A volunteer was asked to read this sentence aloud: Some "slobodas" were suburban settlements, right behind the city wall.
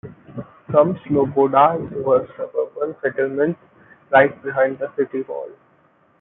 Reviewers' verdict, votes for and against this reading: rejected, 1, 2